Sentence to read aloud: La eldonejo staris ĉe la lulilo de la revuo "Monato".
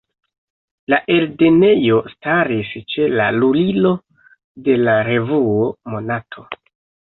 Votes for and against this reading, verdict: 0, 2, rejected